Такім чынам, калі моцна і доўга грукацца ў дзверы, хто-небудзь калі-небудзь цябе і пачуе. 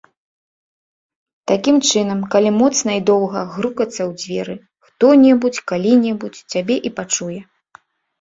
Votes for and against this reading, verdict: 2, 0, accepted